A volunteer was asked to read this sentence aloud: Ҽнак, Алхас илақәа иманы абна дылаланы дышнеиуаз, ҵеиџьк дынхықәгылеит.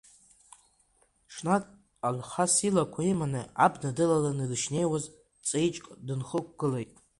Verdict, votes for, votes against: rejected, 0, 2